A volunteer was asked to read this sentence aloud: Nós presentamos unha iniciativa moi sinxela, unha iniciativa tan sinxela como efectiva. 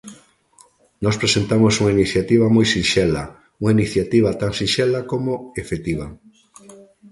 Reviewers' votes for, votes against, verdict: 2, 0, accepted